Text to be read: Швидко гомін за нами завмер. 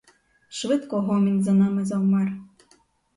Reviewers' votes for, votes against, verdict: 4, 0, accepted